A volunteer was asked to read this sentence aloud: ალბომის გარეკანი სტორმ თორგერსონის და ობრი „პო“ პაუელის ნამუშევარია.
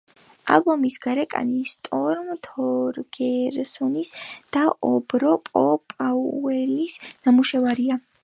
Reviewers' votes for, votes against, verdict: 0, 2, rejected